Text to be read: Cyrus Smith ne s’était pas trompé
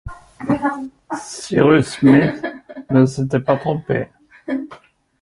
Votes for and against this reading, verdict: 0, 2, rejected